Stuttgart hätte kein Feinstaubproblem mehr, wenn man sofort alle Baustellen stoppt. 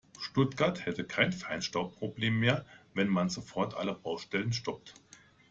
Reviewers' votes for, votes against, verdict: 2, 0, accepted